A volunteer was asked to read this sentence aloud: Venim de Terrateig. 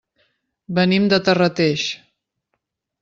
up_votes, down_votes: 0, 2